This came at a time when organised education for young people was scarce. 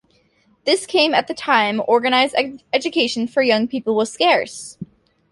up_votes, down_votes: 0, 2